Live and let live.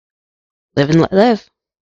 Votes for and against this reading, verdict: 2, 0, accepted